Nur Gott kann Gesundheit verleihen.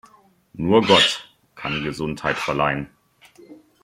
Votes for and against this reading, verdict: 2, 0, accepted